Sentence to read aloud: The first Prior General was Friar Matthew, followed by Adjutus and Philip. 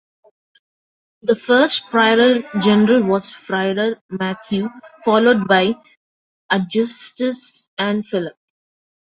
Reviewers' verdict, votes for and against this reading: rejected, 1, 2